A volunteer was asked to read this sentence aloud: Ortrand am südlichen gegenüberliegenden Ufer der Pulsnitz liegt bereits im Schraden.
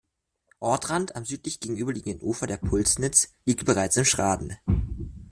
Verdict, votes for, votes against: rejected, 1, 2